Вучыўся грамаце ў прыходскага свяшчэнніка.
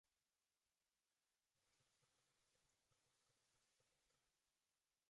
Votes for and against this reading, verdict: 0, 2, rejected